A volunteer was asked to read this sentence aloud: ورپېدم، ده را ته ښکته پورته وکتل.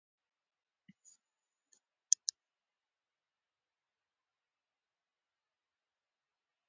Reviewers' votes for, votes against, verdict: 0, 2, rejected